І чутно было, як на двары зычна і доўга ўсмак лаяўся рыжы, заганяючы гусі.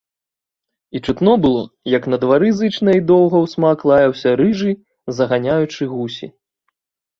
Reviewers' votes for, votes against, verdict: 3, 0, accepted